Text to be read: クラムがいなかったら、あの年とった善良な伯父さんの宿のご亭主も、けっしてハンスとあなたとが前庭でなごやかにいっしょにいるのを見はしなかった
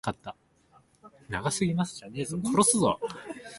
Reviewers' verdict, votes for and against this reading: rejected, 0, 3